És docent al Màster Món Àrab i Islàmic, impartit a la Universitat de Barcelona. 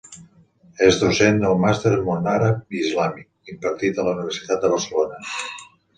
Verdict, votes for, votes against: accepted, 2, 0